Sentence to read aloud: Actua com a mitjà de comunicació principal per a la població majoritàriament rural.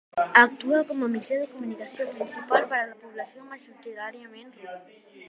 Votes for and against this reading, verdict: 0, 2, rejected